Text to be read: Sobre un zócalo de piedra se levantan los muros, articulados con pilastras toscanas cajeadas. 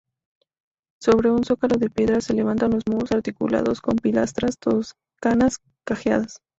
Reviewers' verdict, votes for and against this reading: rejected, 2, 2